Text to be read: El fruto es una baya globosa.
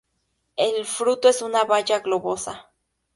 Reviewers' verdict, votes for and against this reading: accepted, 4, 0